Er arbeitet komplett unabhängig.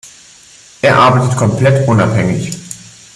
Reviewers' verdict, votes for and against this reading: rejected, 1, 2